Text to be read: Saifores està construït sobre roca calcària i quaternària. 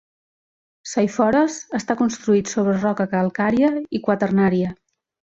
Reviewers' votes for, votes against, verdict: 3, 0, accepted